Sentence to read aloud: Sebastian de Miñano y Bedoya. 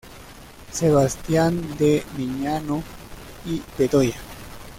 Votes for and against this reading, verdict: 2, 0, accepted